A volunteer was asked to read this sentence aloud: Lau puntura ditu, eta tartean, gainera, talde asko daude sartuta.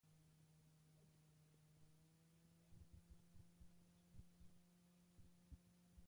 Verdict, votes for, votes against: rejected, 0, 3